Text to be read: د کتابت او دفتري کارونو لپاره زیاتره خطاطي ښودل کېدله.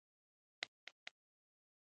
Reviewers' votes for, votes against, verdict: 0, 2, rejected